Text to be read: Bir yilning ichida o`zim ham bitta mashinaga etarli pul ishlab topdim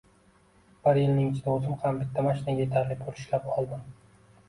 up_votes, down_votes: 1, 2